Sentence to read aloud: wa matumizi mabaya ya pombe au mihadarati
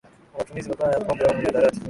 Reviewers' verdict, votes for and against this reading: rejected, 0, 2